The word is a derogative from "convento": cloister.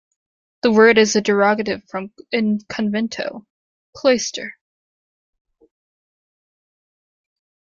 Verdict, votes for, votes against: rejected, 0, 2